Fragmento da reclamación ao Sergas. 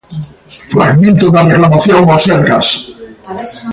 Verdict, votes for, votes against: rejected, 0, 2